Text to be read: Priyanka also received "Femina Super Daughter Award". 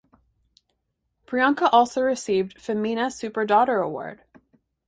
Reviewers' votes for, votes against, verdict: 2, 0, accepted